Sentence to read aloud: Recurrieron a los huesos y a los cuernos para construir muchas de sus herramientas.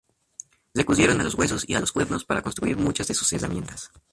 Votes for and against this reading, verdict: 0, 2, rejected